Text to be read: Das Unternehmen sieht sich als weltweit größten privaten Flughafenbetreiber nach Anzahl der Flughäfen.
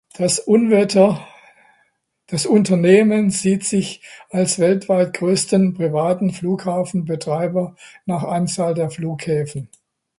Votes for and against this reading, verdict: 0, 2, rejected